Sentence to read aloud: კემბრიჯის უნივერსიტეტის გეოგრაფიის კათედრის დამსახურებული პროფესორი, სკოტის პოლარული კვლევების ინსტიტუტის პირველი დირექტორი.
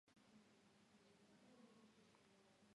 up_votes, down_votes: 0, 2